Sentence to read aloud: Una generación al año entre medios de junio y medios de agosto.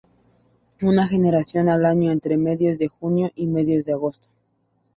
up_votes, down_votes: 2, 0